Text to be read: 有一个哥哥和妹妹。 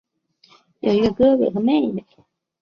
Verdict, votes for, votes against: accepted, 5, 0